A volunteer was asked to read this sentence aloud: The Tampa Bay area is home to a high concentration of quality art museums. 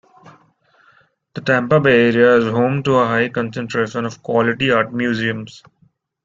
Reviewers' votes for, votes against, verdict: 1, 3, rejected